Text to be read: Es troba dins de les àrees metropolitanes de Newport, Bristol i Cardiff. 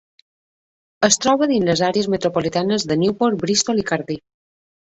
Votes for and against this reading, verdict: 3, 0, accepted